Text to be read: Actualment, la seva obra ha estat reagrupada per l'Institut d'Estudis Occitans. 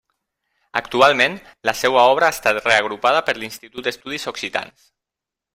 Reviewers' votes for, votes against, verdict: 0, 2, rejected